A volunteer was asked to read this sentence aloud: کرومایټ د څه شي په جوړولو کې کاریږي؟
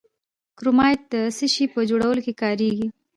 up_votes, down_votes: 2, 0